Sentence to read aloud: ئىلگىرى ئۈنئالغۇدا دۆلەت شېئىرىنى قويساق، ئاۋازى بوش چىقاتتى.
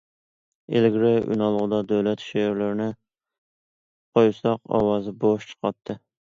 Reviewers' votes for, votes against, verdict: 0, 2, rejected